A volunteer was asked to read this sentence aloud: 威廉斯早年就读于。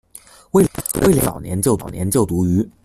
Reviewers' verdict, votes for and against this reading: rejected, 0, 2